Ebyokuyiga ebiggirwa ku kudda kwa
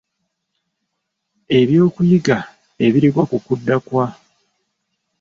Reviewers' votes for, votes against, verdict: 1, 2, rejected